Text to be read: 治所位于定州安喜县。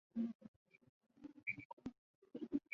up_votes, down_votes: 2, 5